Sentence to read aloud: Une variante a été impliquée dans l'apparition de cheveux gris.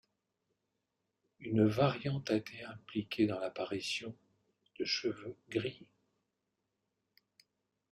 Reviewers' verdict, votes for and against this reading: accepted, 2, 1